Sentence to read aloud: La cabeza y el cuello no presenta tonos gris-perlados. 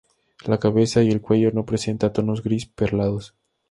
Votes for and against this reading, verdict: 2, 0, accepted